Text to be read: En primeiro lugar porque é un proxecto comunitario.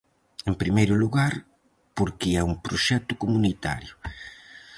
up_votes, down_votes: 4, 0